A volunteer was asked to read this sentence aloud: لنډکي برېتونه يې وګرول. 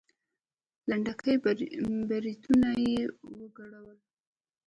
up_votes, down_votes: 2, 0